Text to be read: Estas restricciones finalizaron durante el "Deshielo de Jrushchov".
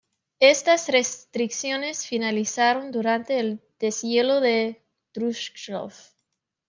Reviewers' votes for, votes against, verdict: 1, 2, rejected